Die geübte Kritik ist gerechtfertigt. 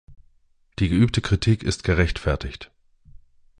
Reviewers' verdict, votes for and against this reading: accepted, 2, 0